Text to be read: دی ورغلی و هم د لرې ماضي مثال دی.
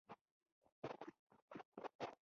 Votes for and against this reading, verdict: 1, 3, rejected